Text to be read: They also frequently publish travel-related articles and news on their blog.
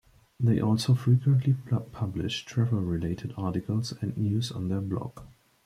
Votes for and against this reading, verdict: 0, 2, rejected